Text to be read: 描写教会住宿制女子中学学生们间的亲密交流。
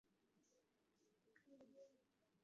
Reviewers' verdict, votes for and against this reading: rejected, 1, 4